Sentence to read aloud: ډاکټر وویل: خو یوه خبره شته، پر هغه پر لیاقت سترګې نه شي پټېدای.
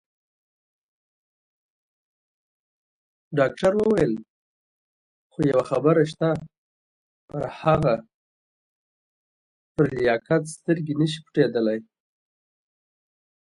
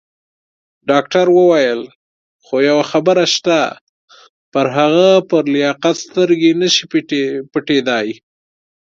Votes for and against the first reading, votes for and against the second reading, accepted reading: 1, 2, 2, 0, second